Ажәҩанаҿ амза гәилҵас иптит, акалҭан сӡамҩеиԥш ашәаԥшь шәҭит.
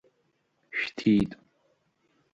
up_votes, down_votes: 0, 2